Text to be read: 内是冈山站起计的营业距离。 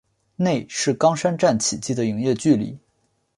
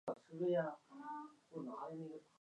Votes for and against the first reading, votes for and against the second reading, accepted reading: 2, 0, 0, 2, first